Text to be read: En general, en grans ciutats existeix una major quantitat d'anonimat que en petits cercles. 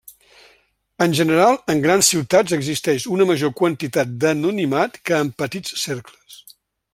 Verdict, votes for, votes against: accepted, 3, 0